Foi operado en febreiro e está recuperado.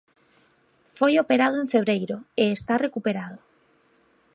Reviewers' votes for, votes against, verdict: 2, 0, accepted